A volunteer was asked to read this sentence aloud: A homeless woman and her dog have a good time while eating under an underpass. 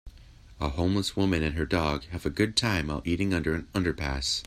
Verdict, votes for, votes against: accepted, 2, 0